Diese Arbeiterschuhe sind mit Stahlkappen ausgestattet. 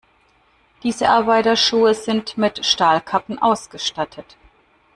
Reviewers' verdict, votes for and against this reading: rejected, 0, 2